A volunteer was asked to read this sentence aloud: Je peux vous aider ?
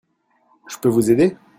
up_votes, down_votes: 2, 0